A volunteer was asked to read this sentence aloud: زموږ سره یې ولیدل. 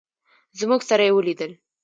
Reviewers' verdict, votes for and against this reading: rejected, 0, 2